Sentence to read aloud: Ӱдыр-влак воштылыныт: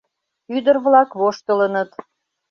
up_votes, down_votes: 2, 0